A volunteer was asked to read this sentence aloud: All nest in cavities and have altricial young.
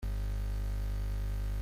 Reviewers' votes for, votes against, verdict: 0, 2, rejected